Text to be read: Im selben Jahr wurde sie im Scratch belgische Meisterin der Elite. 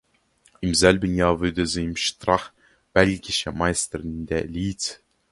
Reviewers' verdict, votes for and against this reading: rejected, 0, 2